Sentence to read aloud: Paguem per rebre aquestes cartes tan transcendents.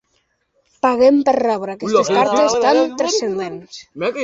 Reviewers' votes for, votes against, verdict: 1, 3, rejected